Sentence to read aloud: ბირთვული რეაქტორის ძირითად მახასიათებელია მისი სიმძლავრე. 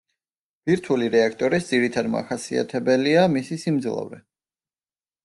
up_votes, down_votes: 0, 2